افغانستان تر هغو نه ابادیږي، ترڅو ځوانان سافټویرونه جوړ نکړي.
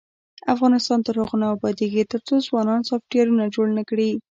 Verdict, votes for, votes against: rejected, 1, 2